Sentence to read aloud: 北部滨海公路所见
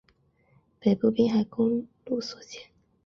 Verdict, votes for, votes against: accepted, 2, 0